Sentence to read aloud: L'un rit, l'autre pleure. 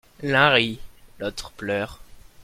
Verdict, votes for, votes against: accepted, 2, 0